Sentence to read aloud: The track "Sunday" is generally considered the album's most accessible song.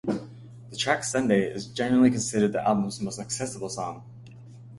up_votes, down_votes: 2, 0